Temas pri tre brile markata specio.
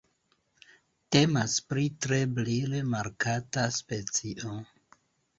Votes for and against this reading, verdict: 0, 2, rejected